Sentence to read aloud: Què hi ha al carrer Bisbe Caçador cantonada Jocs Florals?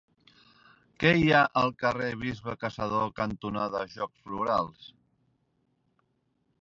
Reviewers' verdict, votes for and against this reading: accepted, 3, 0